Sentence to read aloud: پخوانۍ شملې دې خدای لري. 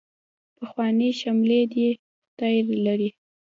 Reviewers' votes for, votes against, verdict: 0, 2, rejected